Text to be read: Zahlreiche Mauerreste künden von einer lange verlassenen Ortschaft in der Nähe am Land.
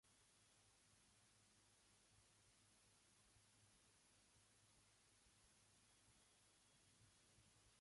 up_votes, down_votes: 0, 3